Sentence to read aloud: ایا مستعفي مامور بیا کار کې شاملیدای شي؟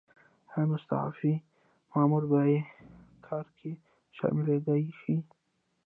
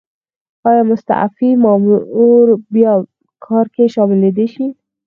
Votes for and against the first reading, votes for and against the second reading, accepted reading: 2, 0, 2, 4, first